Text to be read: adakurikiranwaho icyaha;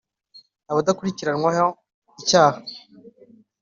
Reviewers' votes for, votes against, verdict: 3, 1, accepted